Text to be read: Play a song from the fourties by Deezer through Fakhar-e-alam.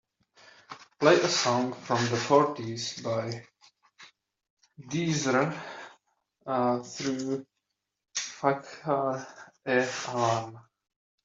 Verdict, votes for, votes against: rejected, 0, 2